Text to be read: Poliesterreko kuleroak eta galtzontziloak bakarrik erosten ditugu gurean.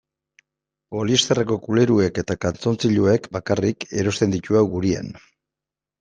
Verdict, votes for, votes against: rejected, 1, 2